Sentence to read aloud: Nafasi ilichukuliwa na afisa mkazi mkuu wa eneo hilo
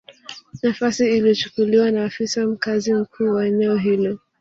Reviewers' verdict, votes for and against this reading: rejected, 1, 2